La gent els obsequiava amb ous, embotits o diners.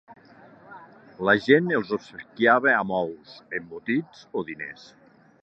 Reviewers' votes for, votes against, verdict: 2, 1, accepted